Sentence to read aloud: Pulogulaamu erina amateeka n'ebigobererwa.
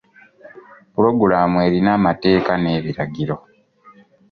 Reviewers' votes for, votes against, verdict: 0, 2, rejected